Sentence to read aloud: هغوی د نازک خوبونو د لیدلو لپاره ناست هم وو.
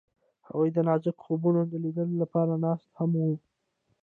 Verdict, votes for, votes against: rejected, 0, 2